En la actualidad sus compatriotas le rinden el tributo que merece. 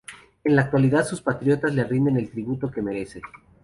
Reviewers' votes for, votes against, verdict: 0, 2, rejected